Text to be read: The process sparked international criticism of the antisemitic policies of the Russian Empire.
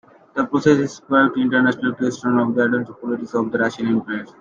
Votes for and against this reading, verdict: 0, 2, rejected